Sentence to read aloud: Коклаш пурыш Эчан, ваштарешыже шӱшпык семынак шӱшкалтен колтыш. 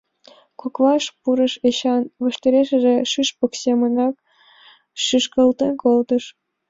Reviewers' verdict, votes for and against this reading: accepted, 2, 0